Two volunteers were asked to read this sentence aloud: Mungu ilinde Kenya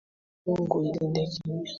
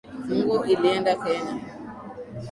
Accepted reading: first